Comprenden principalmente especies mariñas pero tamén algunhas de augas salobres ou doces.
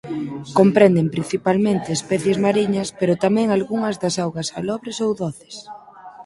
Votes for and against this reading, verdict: 2, 4, rejected